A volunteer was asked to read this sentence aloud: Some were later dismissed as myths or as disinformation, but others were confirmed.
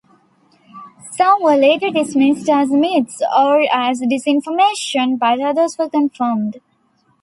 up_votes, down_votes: 2, 1